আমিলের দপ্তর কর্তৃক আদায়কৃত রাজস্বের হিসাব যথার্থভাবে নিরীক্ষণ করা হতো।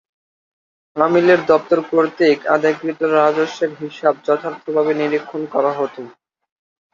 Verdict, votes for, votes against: accepted, 2, 0